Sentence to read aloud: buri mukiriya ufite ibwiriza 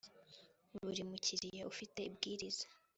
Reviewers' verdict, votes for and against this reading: accepted, 3, 0